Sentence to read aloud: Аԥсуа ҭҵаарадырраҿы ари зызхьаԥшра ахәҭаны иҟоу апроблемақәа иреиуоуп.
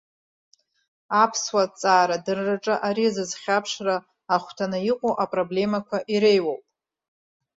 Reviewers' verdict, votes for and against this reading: accepted, 2, 1